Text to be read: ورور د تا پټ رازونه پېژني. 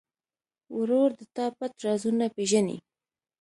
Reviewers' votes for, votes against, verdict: 3, 0, accepted